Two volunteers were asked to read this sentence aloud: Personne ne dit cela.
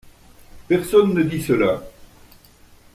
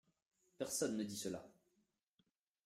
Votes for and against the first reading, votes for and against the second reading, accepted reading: 2, 0, 1, 2, first